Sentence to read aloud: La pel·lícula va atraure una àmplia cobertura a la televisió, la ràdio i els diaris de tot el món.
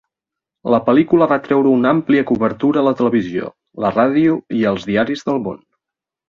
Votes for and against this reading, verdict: 0, 2, rejected